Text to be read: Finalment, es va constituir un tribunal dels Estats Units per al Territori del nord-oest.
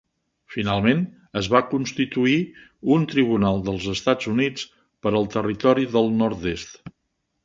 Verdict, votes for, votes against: rejected, 0, 2